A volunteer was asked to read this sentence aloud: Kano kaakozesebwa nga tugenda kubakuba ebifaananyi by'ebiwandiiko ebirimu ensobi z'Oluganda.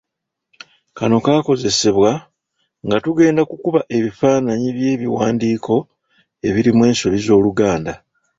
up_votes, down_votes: 1, 2